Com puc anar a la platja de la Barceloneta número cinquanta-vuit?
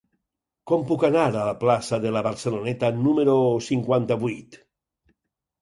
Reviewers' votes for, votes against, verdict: 2, 4, rejected